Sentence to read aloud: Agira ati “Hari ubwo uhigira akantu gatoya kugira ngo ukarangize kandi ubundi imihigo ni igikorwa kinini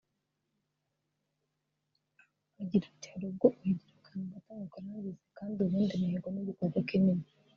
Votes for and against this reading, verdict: 1, 2, rejected